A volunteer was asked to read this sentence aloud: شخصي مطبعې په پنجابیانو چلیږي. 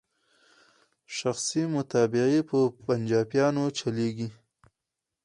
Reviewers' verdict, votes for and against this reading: accepted, 4, 0